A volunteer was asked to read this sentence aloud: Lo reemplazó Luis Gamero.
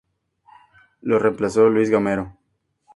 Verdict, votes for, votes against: accepted, 4, 0